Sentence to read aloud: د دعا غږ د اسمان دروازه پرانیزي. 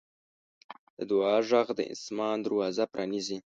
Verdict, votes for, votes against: accepted, 2, 1